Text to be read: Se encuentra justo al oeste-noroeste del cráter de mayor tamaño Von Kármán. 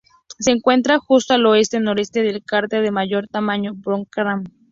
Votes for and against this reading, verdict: 0, 2, rejected